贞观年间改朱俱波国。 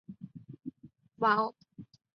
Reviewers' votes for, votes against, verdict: 0, 2, rejected